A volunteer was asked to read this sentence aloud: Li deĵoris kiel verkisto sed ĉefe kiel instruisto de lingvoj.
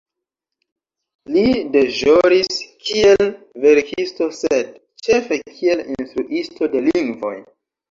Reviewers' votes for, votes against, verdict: 3, 0, accepted